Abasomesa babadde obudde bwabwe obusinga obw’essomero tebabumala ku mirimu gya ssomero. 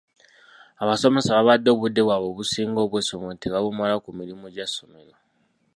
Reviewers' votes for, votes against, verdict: 2, 0, accepted